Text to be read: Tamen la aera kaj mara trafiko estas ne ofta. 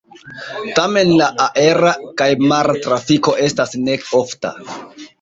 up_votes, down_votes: 2, 1